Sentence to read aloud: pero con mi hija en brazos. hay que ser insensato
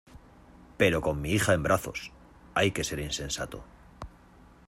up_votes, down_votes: 2, 1